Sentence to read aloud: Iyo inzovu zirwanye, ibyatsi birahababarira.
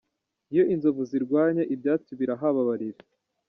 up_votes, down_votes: 1, 2